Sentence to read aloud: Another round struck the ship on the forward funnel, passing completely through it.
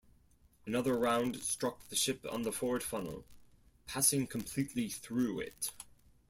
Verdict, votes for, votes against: accepted, 4, 0